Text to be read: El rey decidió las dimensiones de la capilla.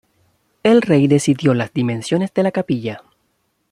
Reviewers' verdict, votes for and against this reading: rejected, 1, 2